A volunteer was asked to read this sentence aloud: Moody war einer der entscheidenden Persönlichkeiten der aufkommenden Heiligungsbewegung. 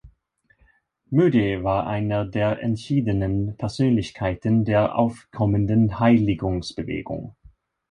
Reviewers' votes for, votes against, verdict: 0, 2, rejected